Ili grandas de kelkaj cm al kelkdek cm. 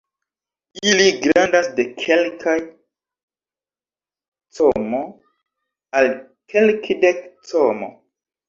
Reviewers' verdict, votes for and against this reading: accepted, 2, 1